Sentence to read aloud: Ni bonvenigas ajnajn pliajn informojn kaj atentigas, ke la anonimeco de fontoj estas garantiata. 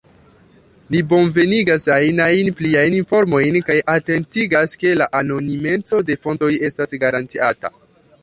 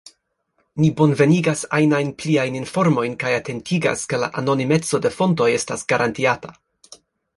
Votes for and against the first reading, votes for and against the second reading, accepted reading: 1, 2, 2, 0, second